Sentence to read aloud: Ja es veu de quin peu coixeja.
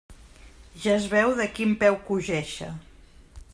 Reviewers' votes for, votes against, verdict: 0, 2, rejected